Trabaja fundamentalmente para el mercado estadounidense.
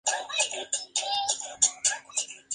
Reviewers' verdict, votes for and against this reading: accepted, 2, 0